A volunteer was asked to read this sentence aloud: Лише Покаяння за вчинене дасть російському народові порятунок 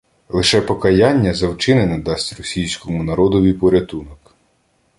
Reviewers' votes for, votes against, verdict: 2, 0, accepted